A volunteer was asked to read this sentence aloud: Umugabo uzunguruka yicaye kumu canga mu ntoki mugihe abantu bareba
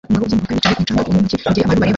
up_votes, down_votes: 0, 2